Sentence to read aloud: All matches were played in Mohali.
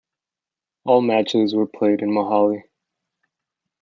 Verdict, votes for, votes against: accepted, 2, 0